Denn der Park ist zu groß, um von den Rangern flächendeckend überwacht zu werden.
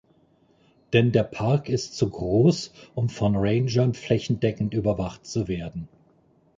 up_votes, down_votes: 1, 2